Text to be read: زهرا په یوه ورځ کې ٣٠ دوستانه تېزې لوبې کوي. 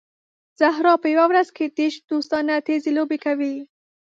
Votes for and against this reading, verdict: 0, 2, rejected